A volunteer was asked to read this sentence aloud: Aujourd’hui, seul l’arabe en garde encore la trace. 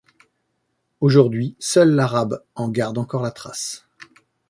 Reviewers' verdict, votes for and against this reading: accepted, 2, 0